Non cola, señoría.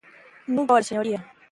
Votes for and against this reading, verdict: 0, 2, rejected